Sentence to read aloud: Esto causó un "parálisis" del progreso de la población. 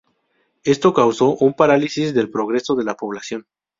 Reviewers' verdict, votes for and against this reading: accepted, 2, 0